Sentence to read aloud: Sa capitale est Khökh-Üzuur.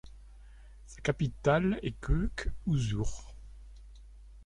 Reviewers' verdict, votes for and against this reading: accepted, 2, 1